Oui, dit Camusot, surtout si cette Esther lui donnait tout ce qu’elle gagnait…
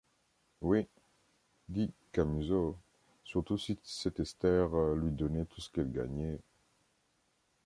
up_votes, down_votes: 1, 2